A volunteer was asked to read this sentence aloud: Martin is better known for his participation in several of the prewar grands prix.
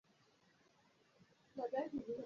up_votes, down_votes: 0, 3